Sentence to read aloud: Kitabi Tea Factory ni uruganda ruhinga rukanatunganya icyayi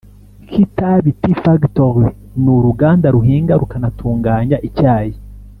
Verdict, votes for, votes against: accepted, 2, 0